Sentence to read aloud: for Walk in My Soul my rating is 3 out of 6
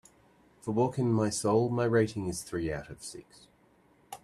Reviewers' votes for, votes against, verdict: 0, 2, rejected